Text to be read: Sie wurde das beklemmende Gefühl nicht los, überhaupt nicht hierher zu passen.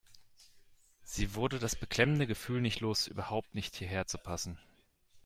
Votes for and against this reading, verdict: 2, 0, accepted